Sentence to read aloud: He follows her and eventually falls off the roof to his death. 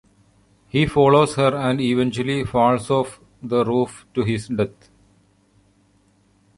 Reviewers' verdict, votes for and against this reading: accepted, 3, 0